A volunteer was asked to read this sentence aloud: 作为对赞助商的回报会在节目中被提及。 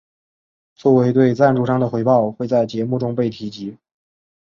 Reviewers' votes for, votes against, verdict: 2, 0, accepted